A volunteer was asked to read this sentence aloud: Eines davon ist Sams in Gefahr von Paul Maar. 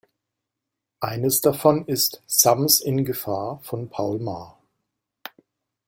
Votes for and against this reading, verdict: 2, 0, accepted